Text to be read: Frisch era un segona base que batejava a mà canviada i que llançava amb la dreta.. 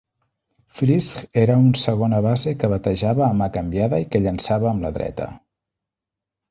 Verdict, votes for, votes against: accepted, 3, 0